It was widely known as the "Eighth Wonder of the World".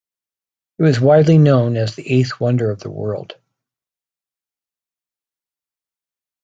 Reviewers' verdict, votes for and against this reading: accepted, 2, 0